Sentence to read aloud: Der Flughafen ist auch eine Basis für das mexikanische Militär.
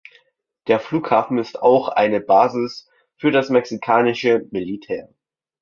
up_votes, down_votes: 2, 0